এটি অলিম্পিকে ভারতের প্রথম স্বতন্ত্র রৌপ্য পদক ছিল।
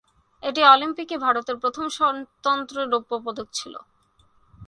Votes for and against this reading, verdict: 1, 3, rejected